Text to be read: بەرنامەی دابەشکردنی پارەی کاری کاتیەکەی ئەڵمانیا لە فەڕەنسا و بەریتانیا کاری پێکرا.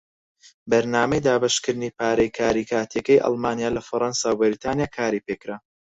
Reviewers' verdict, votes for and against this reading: accepted, 4, 2